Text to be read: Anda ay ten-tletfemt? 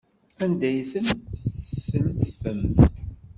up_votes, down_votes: 1, 2